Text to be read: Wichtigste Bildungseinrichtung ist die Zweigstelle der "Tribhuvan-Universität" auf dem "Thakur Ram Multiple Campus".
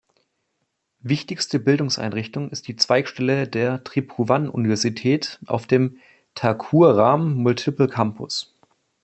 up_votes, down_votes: 2, 0